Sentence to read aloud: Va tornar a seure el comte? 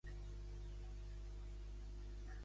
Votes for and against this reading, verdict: 0, 2, rejected